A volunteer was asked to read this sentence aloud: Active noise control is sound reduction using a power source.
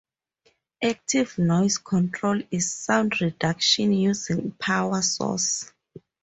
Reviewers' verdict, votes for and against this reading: rejected, 0, 2